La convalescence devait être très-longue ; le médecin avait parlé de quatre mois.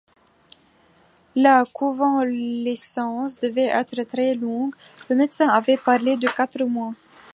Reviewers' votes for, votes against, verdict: 1, 2, rejected